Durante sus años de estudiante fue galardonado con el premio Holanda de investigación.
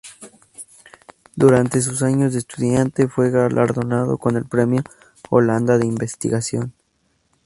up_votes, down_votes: 2, 2